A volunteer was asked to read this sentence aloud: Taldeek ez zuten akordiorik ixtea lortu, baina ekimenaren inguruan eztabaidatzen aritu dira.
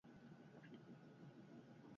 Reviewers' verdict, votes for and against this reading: rejected, 0, 2